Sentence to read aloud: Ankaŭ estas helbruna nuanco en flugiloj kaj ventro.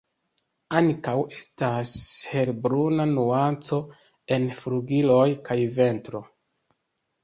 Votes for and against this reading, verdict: 3, 0, accepted